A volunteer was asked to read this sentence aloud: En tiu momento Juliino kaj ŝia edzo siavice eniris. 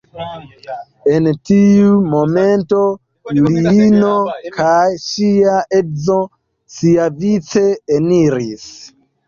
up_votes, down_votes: 2, 1